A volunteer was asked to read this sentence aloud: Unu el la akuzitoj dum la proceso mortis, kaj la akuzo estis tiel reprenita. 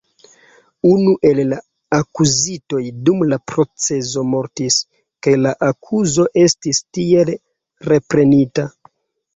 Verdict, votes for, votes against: rejected, 0, 2